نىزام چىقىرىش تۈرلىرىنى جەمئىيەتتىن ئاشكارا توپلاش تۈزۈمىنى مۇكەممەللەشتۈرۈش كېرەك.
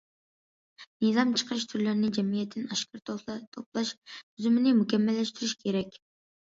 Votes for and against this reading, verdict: 1, 2, rejected